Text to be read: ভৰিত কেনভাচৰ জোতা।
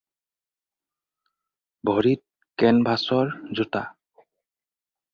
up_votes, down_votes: 4, 0